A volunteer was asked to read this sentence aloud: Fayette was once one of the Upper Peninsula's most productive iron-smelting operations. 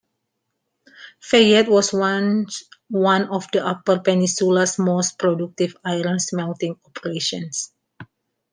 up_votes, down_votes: 0, 2